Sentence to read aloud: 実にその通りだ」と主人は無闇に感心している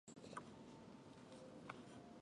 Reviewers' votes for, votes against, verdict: 0, 2, rejected